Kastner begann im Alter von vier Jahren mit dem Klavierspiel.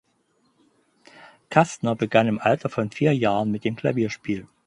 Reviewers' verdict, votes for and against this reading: accepted, 4, 0